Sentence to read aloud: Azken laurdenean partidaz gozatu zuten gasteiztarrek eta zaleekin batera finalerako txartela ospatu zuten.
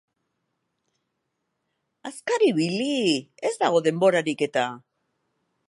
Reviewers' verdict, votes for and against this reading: rejected, 0, 2